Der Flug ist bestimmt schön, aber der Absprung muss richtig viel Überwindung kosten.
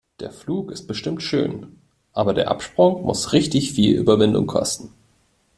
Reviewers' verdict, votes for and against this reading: accepted, 2, 0